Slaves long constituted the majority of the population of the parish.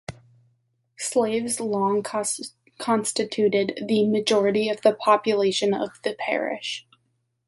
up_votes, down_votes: 0, 2